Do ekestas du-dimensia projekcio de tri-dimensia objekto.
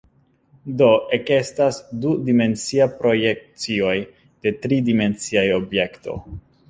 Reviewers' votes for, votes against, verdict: 0, 2, rejected